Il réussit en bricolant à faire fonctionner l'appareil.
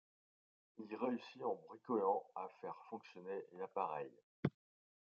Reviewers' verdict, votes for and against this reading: accepted, 2, 0